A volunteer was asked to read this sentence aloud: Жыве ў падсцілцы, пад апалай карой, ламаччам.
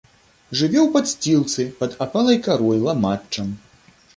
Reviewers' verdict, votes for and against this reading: accepted, 2, 0